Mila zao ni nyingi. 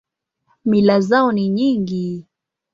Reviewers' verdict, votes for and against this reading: accepted, 3, 0